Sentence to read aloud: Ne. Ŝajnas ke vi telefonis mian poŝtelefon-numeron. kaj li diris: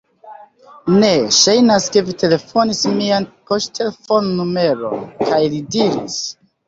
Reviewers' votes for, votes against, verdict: 1, 2, rejected